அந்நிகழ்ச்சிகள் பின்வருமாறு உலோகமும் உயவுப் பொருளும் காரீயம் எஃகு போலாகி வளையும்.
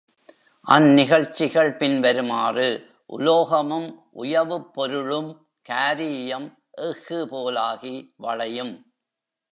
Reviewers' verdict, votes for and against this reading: rejected, 1, 2